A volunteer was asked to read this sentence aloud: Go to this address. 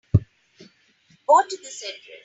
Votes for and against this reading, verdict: 2, 3, rejected